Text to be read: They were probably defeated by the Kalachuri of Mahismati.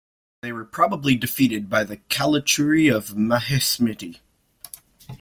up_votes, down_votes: 2, 1